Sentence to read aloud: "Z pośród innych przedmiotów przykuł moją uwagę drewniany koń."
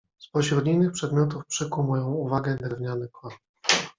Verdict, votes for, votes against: rejected, 0, 2